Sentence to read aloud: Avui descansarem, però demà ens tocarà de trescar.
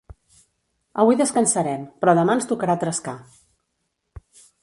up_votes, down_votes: 1, 2